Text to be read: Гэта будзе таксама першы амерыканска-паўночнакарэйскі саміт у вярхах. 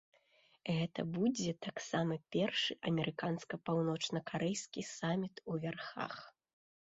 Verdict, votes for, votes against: accepted, 3, 0